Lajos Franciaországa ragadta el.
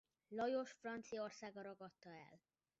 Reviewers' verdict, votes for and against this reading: rejected, 0, 2